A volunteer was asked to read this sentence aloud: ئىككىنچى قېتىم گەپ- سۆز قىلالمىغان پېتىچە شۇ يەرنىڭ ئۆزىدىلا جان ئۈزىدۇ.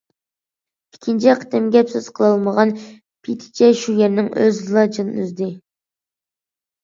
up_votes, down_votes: 0, 2